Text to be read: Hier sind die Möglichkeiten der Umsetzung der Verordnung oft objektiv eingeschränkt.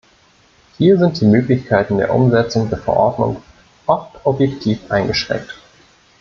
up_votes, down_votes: 1, 2